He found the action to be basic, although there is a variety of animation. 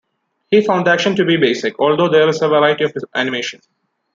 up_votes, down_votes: 2, 0